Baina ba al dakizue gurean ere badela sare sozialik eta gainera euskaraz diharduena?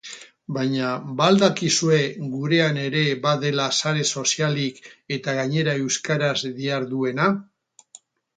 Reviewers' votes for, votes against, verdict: 2, 0, accepted